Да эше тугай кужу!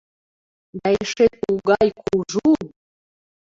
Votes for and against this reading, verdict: 2, 0, accepted